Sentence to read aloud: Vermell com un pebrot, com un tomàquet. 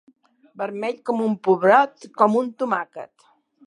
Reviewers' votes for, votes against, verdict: 0, 2, rejected